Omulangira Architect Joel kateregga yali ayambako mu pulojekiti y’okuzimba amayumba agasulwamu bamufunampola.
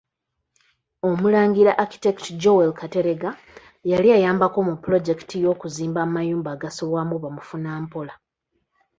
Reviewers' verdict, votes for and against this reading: accepted, 3, 0